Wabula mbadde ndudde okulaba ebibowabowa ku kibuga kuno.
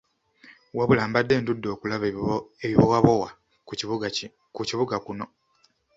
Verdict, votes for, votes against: rejected, 0, 2